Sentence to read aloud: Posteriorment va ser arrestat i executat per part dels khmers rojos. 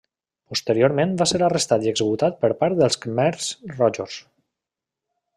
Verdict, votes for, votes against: accepted, 2, 0